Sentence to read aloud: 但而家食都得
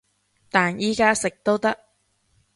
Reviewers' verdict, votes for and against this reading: rejected, 1, 2